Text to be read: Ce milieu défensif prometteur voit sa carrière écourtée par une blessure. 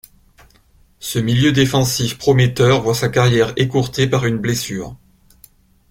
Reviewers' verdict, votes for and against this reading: accepted, 2, 0